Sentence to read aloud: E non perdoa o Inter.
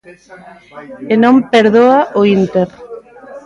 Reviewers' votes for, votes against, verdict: 1, 2, rejected